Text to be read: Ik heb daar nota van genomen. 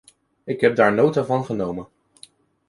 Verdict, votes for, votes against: accepted, 2, 0